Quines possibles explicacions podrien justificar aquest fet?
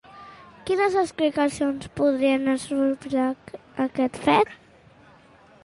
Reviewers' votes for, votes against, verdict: 1, 2, rejected